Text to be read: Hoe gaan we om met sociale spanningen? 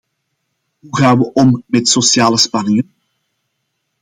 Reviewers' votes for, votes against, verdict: 0, 2, rejected